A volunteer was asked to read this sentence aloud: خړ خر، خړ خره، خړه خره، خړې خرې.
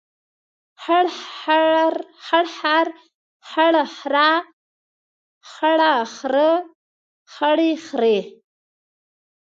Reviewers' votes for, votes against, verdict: 2, 3, rejected